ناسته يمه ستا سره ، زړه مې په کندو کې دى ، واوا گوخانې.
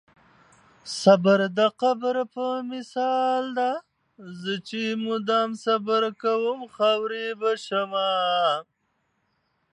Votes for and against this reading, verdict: 0, 2, rejected